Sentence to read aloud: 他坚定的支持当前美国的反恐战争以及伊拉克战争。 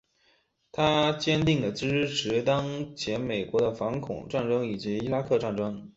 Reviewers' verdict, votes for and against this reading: accepted, 3, 1